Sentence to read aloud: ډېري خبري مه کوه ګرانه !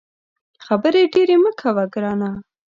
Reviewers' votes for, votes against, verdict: 1, 2, rejected